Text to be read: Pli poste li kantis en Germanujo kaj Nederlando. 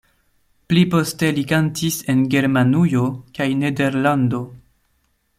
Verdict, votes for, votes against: accepted, 2, 0